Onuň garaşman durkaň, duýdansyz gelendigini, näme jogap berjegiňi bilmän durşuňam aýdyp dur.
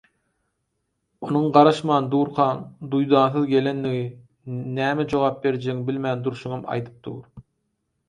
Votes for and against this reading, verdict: 2, 4, rejected